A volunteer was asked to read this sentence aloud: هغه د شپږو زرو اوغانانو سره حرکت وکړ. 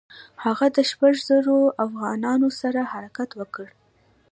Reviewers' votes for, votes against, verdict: 1, 2, rejected